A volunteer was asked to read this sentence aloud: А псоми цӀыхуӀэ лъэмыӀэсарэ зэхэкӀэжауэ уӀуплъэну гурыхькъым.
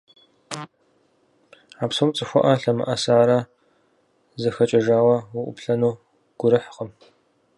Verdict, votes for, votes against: accepted, 4, 0